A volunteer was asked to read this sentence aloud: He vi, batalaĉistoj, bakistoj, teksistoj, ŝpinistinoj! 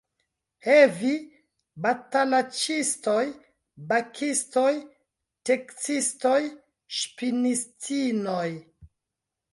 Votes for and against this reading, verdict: 2, 0, accepted